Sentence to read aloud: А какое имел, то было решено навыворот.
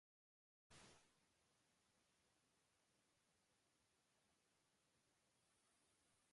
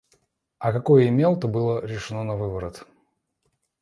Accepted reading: second